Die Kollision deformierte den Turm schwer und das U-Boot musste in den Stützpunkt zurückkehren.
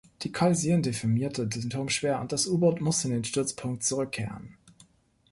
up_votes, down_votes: 0, 2